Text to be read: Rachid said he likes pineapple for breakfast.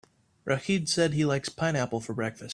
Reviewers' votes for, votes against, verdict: 4, 0, accepted